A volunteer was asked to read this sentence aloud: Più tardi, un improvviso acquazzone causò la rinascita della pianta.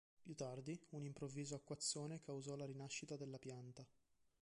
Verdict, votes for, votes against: accepted, 2, 0